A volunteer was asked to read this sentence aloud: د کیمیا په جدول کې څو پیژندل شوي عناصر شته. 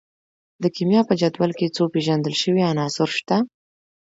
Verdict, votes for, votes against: rejected, 1, 2